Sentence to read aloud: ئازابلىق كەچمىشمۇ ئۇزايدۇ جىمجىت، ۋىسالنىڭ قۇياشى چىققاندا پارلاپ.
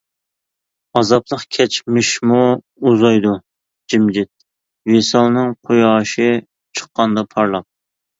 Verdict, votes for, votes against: accepted, 2, 0